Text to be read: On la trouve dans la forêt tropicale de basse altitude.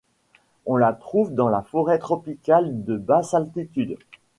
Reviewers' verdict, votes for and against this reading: accepted, 2, 0